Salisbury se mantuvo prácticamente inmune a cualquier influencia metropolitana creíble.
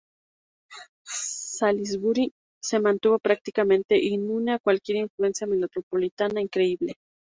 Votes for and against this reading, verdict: 0, 4, rejected